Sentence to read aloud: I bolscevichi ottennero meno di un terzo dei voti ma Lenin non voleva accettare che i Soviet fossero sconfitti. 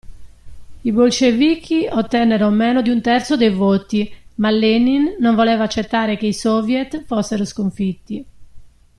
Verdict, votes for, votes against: accepted, 2, 0